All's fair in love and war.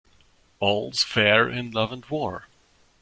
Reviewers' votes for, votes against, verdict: 2, 1, accepted